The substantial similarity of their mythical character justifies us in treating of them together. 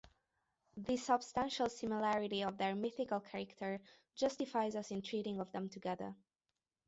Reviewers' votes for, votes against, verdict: 2, 0, accepted